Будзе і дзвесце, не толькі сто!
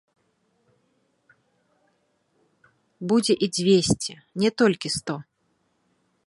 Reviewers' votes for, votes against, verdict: 3, 0, accepted